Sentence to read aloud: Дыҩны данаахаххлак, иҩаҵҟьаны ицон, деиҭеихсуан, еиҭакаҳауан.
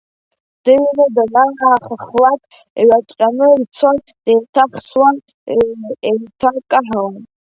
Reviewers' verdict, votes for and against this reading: accepted, 2, 0